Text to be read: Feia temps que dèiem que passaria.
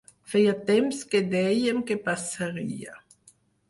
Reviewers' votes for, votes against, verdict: 4, 0, accepted